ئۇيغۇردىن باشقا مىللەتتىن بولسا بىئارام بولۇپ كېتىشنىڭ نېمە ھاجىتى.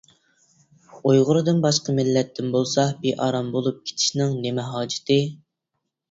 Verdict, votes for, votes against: accepted, 2, 1